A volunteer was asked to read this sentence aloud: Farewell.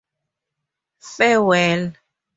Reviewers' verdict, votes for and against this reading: accepted, 2, 0